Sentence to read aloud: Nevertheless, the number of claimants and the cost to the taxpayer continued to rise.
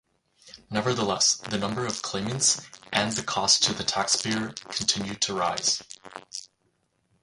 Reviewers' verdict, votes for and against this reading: accepted, 4, 0